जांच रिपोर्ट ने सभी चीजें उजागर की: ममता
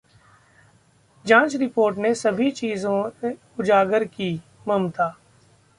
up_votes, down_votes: 1, 2